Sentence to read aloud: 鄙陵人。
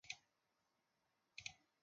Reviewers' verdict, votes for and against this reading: rejected, 0, 5